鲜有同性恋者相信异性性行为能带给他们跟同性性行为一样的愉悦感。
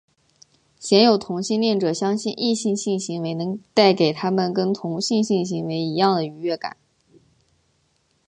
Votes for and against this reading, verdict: 5, 1, accepted